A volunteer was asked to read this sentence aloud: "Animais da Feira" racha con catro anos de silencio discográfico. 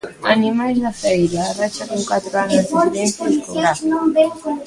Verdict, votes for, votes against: rejected, 0, 2